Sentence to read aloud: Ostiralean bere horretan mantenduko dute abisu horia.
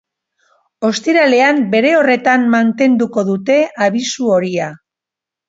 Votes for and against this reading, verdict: 2, 0, accepted